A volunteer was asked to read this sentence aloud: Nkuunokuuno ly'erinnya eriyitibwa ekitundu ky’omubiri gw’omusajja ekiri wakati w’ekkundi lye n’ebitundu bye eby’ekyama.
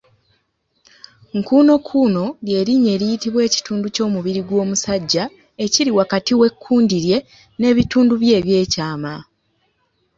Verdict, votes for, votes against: accepted, 2, 0